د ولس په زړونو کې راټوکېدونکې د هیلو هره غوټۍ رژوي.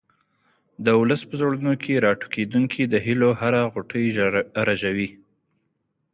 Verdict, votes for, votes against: accepted, 3, 0